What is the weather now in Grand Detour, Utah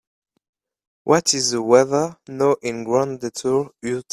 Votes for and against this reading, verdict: 0, 2, rejected